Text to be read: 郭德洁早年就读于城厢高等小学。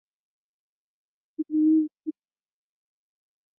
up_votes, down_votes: 0, 2